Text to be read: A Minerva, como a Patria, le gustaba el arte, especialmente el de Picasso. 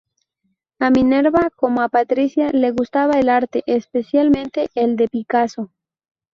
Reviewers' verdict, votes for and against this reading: rejected, 2, 2